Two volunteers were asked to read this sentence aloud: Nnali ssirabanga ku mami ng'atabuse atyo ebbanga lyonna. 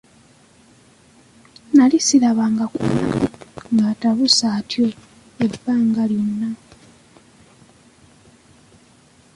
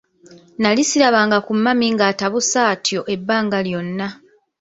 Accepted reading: first